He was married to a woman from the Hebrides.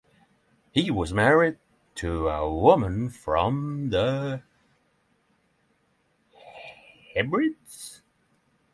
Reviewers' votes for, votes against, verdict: 3, 6, rejected